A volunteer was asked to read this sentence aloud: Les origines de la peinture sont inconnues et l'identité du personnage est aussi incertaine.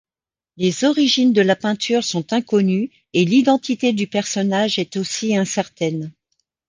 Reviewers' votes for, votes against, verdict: 2, 0, accepted